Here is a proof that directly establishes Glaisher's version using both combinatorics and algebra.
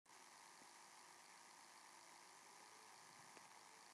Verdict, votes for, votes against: rejected, 0, 2